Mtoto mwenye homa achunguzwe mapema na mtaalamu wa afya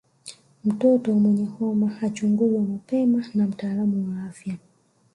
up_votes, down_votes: 0, 2